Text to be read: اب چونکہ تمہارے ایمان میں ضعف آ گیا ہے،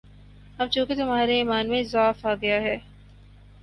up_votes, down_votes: 2, 0